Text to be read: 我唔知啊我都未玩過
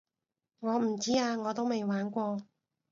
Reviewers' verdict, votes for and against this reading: accepted, 2, 0